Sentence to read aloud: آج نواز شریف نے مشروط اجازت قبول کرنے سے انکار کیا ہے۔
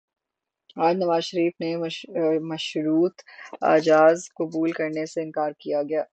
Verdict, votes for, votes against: rejected, 3, 15